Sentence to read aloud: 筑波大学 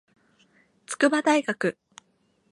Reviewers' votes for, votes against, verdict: 2, 0, accepted